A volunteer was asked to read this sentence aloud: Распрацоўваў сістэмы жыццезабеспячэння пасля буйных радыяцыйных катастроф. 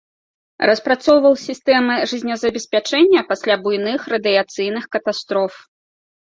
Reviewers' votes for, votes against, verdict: 2, 1, accepted